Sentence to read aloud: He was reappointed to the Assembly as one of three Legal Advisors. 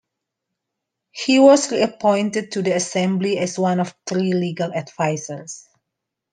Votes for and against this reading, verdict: 2, 0, accepted